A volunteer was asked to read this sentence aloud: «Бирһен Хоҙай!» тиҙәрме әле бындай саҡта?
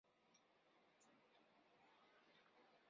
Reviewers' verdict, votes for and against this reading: rejected, 0, 2